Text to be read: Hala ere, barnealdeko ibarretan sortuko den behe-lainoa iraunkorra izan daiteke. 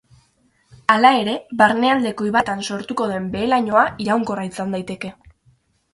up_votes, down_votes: 0, 4